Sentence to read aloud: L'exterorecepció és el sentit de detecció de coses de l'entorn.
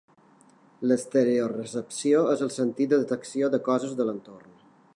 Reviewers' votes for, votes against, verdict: 2, 1, accepted